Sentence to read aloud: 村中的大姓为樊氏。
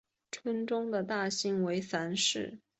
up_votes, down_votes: 2, 0